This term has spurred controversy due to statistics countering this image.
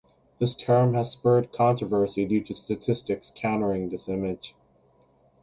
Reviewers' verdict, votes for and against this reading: accepted, 4, 0